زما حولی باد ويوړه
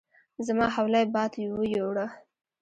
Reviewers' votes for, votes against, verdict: 0, 2, rejected